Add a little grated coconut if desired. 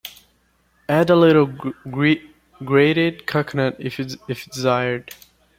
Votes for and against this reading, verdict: 1, 2, rejected